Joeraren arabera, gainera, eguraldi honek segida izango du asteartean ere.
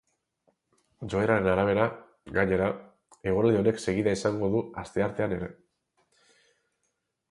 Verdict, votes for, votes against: rejected, 2, 2